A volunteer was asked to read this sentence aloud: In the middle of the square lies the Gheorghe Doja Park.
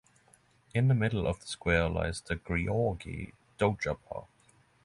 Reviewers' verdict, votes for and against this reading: accepted, 6, 0